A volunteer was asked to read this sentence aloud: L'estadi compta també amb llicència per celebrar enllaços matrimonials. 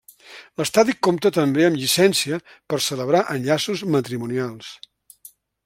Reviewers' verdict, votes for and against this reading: accepted, 3, 0